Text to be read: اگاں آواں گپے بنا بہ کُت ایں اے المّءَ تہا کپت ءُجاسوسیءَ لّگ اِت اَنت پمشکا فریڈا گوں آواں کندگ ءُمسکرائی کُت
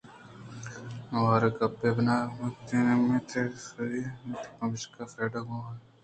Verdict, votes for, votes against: rejected, 2, 3